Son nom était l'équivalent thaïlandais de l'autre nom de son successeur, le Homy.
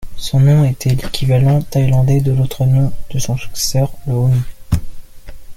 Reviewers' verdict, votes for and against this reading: rejected, 0, 2